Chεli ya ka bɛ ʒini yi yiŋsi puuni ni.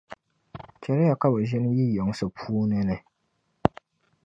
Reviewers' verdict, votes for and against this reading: rejected, 0, 2